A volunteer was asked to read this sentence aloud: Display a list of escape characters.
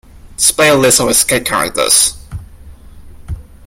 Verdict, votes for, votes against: rejected, 1, 2